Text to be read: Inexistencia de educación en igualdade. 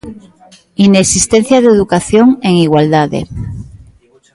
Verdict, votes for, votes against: accepted, 2, 1